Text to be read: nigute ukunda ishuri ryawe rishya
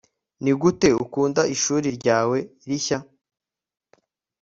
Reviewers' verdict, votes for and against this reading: accepted, 2, 1